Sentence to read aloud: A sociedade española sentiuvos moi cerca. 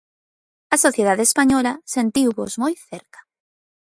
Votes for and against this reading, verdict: 2, 0, accepted